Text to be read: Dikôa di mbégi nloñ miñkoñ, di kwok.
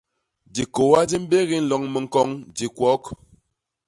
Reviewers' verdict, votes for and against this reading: rejected, 0, 2